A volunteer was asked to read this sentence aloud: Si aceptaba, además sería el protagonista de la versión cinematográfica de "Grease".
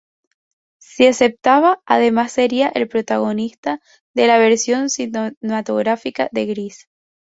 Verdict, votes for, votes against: rejected, 0, 4